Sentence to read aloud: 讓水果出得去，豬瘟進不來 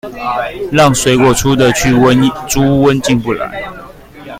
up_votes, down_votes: 0, 2